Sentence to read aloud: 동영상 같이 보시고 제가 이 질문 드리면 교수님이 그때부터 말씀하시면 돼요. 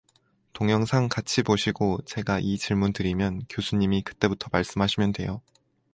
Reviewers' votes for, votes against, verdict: 4, 0, accepted